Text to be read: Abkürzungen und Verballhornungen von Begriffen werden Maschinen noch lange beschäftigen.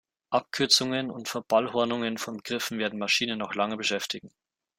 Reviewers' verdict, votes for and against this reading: accepted, 2, 0